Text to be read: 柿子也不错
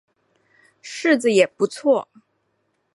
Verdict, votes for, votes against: accepted, 5, 0